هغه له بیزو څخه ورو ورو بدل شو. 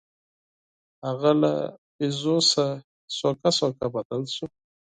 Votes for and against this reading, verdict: 4, 0, accepted